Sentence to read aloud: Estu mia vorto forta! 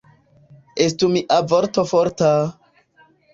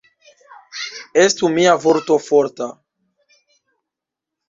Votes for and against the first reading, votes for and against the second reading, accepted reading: 2, 1, 1, 2, first